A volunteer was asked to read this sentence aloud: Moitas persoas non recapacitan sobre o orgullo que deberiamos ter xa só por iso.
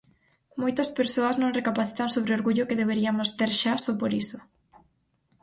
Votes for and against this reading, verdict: 0, 4, rejected